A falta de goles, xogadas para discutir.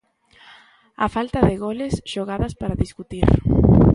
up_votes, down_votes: 3, 0